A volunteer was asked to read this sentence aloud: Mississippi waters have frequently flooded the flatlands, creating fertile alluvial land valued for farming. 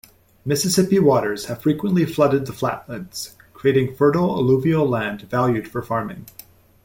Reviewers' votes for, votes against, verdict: 2, 0, accepted